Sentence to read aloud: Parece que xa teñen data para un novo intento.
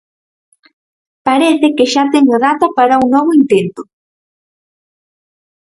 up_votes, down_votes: 2, 4